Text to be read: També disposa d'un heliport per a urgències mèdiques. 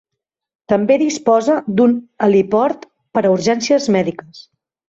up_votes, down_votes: 2, 0